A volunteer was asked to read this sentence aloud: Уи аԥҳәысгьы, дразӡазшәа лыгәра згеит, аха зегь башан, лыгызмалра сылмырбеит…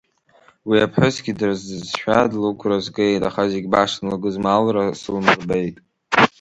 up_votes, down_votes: 1, 3